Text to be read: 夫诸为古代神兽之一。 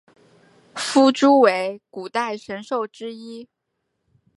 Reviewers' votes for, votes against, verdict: 2, 0, accepted